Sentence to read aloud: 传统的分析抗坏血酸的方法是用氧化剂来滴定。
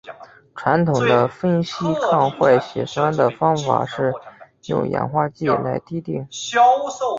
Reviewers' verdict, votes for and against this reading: accepted, 2, 0